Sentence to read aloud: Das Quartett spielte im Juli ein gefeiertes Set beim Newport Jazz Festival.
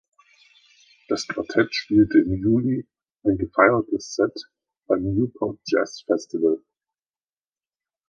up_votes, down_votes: 2, 0